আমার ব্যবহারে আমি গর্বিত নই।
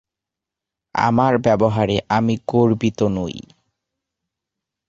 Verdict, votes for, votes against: accepted, 2, 0